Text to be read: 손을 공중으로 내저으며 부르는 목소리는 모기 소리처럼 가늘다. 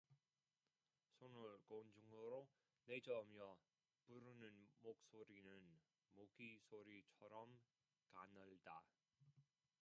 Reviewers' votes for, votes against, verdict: 0, 2, rejected